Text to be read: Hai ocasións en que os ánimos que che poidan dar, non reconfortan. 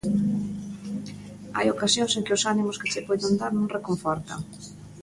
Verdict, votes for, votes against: accepted, 2, 0